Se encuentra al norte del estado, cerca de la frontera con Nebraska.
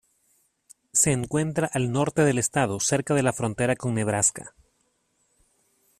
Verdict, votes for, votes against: accepted, 2, 0